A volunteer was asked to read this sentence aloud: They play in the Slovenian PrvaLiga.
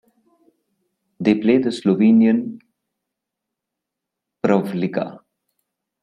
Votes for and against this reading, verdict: 0, 2, rejected